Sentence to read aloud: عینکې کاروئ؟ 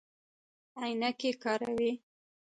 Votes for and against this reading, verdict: 2, 1, accepted